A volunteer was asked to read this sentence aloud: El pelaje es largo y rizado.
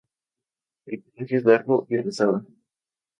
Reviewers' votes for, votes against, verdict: 0, 2, rejected